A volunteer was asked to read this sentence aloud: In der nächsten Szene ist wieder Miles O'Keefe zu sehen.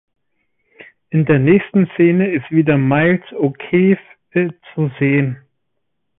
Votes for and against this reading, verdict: 0, 2, rejected